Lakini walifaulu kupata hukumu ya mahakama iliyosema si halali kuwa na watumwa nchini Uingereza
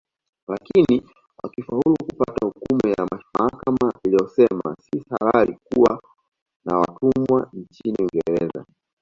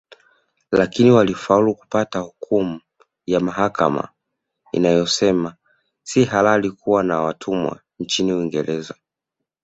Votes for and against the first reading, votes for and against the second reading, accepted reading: 1, 2, 2, 0, second